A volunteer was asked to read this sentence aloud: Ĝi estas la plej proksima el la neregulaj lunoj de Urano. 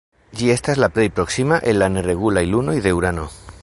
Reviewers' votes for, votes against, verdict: 3, 2, accepted